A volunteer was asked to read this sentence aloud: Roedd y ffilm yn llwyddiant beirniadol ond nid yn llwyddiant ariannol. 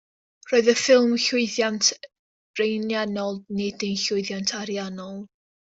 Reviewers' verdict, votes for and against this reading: rejected, 1, 2